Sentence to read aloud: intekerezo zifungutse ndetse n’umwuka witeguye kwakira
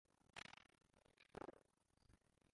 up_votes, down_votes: 0, 3